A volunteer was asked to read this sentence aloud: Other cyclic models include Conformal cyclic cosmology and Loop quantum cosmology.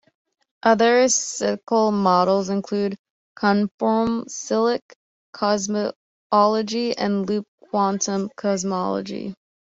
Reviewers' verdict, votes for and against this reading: rejected, 1, 2